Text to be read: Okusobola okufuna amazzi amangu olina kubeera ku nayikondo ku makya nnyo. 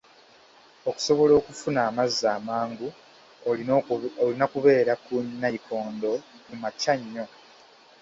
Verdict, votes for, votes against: rejected, 0, 2